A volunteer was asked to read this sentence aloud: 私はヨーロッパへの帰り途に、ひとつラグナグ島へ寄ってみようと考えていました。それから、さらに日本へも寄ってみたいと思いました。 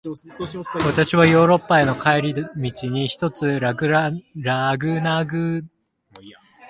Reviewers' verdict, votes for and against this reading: rejected, 0, 2